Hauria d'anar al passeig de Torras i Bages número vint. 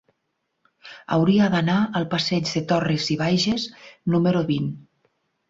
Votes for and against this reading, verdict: 8, 0, accepted